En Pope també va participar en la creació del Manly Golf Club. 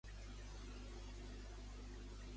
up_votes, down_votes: 1, 2